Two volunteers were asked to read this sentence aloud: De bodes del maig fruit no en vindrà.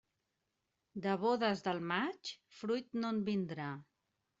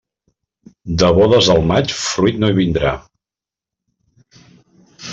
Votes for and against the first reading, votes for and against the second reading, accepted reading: 2, 0, 0, 2, first